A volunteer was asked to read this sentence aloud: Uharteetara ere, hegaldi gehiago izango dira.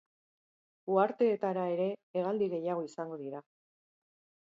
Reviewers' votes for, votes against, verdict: 3, 0, accepted